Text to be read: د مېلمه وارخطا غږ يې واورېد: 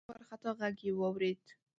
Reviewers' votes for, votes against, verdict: 1, 2, rejected